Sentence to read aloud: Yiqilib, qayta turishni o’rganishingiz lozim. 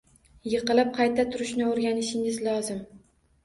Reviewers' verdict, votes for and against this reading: accepted, 2, 0